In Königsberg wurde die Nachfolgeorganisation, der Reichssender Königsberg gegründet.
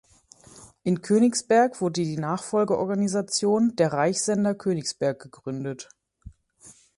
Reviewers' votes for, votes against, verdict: 2, 0, accepted